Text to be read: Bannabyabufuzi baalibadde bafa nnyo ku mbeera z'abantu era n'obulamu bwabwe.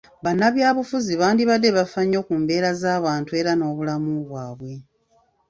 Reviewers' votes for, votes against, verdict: 2, 3, rejected